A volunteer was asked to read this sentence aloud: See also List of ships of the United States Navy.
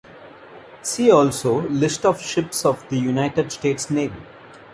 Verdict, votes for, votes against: accepted, 2, 0